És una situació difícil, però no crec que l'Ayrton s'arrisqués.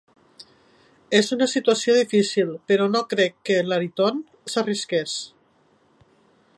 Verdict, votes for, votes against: rejected, 1, 2